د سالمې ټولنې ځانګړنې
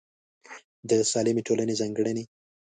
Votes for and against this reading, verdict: 2, 0, accepted